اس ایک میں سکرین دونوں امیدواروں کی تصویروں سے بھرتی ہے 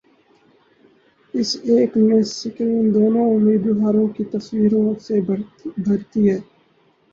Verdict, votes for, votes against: rejected, 0, 4